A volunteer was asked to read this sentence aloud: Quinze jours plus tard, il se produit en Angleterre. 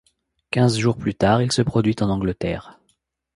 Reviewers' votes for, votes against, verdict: 2, 0, accepted